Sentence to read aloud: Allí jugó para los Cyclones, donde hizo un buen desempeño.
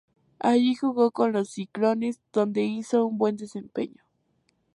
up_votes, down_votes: 0, 2